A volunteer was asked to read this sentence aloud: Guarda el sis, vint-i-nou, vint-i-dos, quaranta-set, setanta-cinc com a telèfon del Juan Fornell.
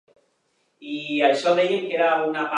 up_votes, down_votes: 0, 2